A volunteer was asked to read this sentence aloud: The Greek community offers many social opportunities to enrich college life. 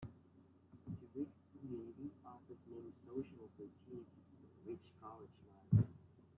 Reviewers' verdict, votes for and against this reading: rejected, 0, 2